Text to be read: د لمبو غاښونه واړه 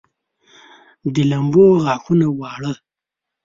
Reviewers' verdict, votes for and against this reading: rejected, 0, 2